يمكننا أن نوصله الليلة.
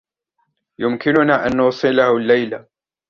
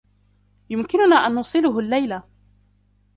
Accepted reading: first